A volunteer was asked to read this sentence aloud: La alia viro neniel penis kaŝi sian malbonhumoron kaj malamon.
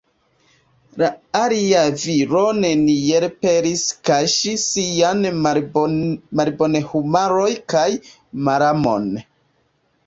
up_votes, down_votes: 0, 2